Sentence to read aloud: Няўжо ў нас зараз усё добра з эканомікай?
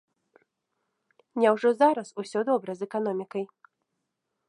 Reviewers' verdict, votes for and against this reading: rejected, 0, 2